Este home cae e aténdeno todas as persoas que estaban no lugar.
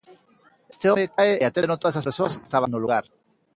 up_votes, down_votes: 0, 2